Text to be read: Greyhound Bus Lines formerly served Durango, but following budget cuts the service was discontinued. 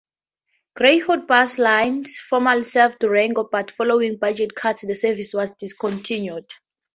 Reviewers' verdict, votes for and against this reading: accepted, 2, 0